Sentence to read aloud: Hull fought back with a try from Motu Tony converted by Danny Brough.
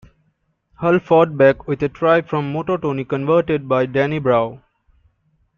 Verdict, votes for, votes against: accepted, 2, 0